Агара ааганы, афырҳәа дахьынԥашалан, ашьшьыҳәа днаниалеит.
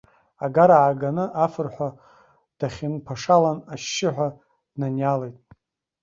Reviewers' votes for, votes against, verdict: 0, 2, rejected